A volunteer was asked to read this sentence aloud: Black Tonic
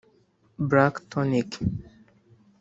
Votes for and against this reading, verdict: 0, 2, rejected